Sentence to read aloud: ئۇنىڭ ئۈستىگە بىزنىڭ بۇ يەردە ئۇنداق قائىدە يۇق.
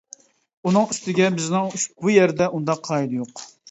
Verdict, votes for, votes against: rejected, 0, 2